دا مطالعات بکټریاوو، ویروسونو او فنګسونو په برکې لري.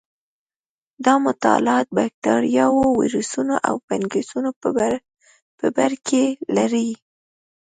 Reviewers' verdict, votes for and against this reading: accepted, 2, 0